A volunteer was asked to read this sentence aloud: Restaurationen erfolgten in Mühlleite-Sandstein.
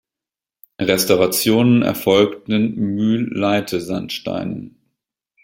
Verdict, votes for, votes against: accepted, 2, 1